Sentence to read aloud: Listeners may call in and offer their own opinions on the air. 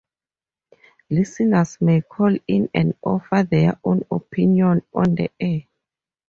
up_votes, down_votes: 0, 2